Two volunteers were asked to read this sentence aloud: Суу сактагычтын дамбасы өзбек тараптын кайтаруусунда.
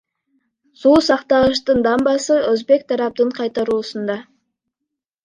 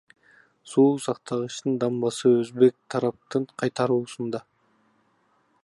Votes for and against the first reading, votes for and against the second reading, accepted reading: 2, 0, 0, 2, first